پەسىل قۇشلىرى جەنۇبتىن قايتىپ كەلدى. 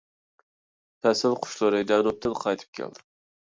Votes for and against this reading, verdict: 1, 2, rejected